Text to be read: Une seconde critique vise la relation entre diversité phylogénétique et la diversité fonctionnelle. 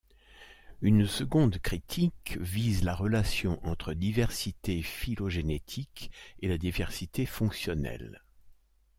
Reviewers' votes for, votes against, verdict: 2, 0, accepted